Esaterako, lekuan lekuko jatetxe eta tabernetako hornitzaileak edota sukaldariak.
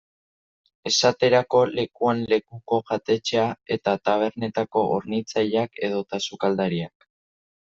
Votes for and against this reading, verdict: 0, 2, rejected